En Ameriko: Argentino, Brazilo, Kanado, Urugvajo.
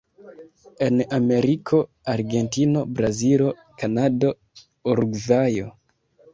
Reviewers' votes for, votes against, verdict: 2, 3, rejected